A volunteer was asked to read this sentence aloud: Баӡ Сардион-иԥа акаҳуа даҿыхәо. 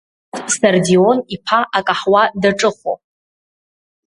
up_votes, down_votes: 1, 2